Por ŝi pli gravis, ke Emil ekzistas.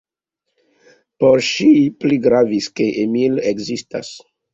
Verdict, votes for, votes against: rejected, 0, 2